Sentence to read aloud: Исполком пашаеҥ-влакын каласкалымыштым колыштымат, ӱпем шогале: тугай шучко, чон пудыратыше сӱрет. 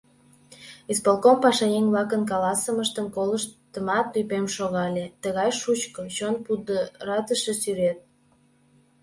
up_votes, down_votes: 1, 2